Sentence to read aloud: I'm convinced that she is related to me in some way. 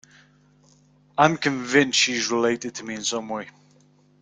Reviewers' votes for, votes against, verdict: 0, 2, rejected